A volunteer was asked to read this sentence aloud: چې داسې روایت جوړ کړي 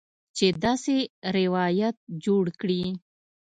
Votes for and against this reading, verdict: 2, 0, accepted